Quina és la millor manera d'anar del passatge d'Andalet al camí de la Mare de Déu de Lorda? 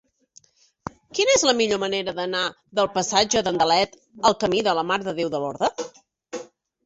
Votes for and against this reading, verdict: 2, 0, accepted